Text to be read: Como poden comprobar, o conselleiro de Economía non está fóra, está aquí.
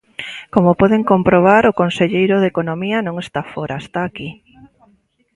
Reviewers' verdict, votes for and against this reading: accepted, 2, 0